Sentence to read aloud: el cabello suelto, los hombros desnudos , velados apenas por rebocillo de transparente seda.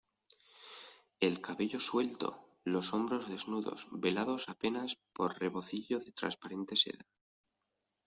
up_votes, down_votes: 2, 0